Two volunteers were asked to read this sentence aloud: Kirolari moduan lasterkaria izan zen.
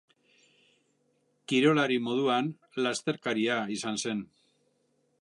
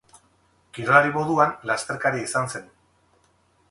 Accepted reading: first